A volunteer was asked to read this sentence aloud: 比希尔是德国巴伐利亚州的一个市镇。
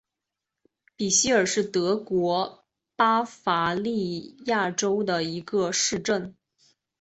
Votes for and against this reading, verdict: 2, 0, accepted